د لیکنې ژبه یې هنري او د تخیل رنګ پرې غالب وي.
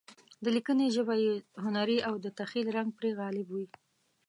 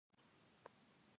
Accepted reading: first